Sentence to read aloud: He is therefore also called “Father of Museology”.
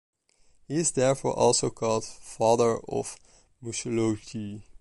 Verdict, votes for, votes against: rejected, 0, 2